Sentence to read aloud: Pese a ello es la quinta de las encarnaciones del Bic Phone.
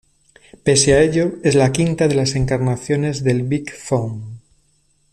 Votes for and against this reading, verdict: 2, 0, accepted